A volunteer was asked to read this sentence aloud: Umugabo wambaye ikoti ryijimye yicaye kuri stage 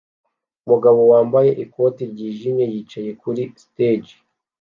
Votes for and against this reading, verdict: 2, 0, accepted